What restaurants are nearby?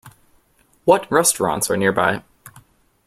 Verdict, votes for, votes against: accepted, 2, 0